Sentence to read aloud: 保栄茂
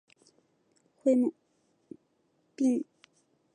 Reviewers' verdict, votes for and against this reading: rejected, 0, 2